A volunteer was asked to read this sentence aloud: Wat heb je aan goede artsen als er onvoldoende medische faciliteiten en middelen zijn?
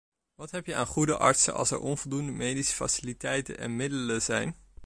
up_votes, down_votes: 2, 0